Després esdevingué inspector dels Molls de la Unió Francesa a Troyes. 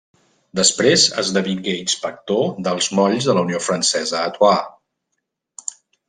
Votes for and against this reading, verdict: 1, 2, rejected